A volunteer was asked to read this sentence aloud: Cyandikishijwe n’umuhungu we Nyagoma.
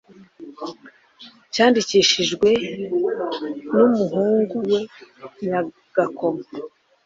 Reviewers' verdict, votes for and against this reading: rejected, 0, 2